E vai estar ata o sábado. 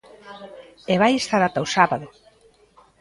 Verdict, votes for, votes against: rejected, 1, 2